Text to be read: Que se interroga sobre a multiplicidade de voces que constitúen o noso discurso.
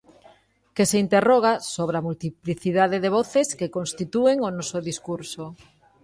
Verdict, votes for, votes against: rejected, 1, 2